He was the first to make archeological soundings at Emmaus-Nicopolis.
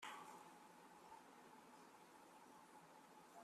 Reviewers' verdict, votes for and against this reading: rejected, 0, 2